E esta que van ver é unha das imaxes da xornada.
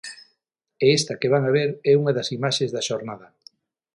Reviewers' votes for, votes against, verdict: 0, 6, rejected